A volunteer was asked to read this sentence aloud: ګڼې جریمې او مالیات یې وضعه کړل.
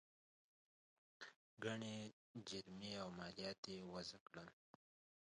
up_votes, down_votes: 1, 2